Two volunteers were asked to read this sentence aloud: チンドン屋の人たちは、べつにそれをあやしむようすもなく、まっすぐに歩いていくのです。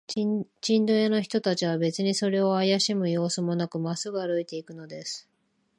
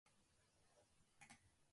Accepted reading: first